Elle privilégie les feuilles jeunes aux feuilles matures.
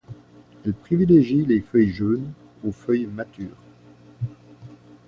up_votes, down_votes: 0, 2